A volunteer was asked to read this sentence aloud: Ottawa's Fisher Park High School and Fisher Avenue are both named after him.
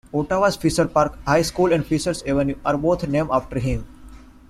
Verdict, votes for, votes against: rejected, 0, 2